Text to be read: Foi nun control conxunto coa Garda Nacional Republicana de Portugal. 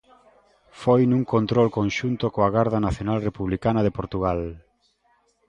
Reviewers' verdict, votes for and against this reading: accepted, 2, 0